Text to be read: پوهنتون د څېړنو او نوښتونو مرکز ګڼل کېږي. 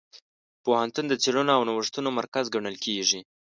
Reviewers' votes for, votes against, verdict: 2, 0, accepted